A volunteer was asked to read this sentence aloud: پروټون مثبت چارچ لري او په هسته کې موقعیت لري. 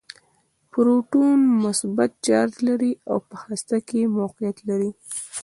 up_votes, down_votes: 0, 2